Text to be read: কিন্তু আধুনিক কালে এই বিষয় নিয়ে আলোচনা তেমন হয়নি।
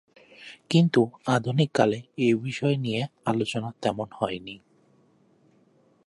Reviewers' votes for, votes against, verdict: 2, 0, accepted